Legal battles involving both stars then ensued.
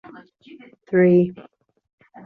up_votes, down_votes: 0, 2